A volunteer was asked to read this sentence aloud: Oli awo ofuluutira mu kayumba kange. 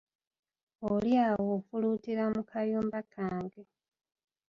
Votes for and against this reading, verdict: 2, 1, accepted